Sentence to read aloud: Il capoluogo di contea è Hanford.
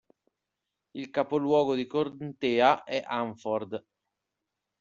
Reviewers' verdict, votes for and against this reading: rejected, 1, 2